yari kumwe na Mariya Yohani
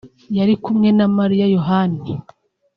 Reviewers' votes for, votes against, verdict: 1, 2, rejected